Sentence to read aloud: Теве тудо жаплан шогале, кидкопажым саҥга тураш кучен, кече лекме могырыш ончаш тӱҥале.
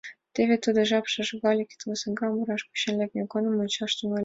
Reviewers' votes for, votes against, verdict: 2, 4, rejected